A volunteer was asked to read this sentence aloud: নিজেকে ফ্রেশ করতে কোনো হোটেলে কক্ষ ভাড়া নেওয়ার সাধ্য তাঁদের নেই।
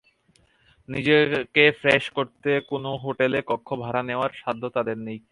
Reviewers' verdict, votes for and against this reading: accepted, 2, 0